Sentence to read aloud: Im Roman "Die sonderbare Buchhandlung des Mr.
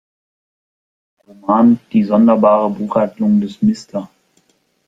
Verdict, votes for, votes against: rejected, 1, 2